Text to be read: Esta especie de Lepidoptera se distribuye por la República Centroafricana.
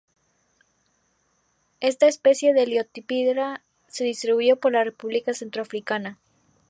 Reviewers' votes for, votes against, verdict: 0, 2, rejected